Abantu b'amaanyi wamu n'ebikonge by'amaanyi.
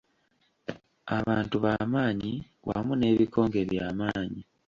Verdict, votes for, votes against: accepted, 2, 0